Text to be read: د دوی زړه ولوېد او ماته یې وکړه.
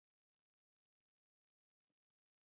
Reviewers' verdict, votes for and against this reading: rejected, 2, 4